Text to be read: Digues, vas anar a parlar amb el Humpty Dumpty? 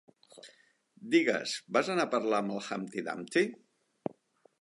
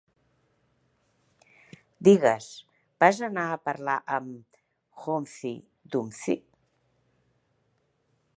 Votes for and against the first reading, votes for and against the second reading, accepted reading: 2, 0, 0, 2, first